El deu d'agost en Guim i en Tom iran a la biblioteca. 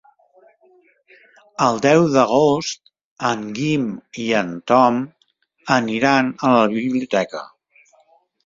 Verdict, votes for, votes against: rejected, 0, 3